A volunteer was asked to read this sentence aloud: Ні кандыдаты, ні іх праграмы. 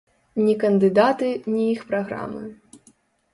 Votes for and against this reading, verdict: 3, 0, accepted